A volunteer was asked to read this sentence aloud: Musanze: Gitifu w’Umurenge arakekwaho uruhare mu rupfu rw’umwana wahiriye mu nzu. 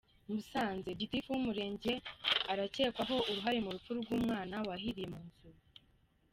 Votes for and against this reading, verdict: 2, 0, accepted